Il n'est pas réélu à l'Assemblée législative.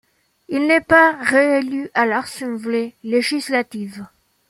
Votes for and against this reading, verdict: 1, 2, rejected